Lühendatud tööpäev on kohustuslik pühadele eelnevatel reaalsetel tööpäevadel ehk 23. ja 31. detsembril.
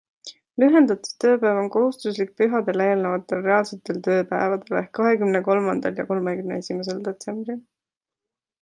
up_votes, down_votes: 0, 2